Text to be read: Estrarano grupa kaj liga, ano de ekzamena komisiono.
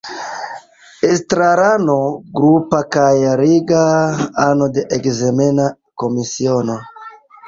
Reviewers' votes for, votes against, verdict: 1, 3, rejected